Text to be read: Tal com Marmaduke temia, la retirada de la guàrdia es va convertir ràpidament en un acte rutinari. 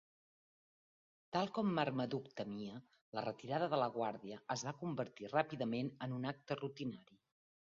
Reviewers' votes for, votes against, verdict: 3, 0, accepted